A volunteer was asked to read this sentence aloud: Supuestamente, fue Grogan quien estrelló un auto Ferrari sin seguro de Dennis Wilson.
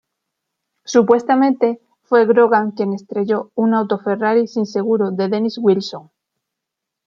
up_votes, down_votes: 2, 1